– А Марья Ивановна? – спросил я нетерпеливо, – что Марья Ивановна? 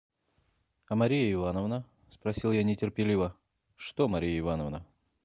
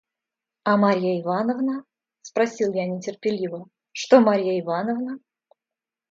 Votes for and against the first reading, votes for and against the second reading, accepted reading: 1, 2, 2, 0, second